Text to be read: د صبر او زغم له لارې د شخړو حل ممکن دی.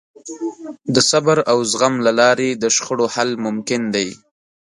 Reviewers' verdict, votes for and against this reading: accepted, 3, 0